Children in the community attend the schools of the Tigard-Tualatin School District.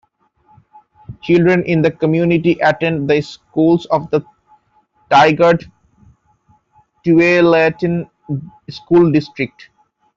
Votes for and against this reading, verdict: 1, 2, rejected